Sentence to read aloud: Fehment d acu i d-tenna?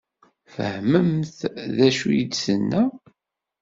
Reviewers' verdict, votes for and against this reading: rejected, 1, 2